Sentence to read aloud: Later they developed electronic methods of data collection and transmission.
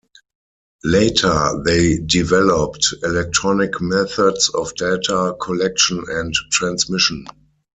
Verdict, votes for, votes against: accepted, 4, 0